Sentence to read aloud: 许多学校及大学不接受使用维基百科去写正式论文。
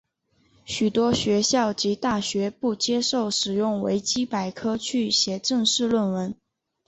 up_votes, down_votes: 2, 1